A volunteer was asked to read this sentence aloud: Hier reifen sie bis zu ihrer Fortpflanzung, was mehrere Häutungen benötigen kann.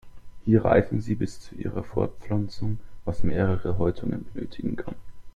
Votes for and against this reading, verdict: 2, 0, accepted